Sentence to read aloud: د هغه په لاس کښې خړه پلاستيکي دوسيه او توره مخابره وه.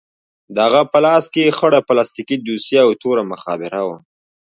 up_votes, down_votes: 1, 2